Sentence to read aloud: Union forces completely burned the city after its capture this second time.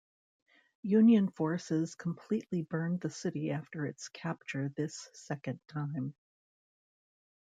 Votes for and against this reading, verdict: 2, 0, accepted